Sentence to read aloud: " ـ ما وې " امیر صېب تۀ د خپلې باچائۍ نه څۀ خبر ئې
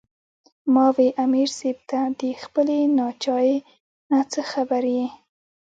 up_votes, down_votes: 2, 0